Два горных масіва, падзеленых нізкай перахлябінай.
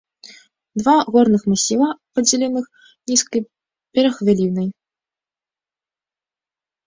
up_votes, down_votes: 0, 2